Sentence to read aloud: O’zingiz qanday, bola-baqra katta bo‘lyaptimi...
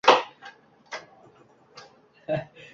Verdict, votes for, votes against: rejected, 0, 2